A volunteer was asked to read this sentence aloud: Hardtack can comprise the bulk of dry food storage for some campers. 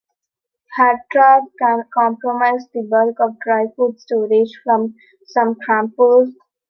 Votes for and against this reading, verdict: 0, 3, rejected